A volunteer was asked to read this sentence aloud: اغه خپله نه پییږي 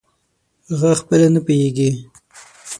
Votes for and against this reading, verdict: 0, 6, rejected